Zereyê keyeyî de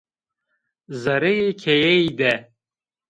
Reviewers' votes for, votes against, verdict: 2, 0, accepted